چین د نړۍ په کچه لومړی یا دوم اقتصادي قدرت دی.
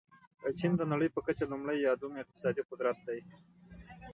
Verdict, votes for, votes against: accepted, 3, 2